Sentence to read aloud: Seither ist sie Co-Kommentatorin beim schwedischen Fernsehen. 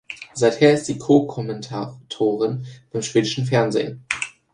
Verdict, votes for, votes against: accepted, 2, 1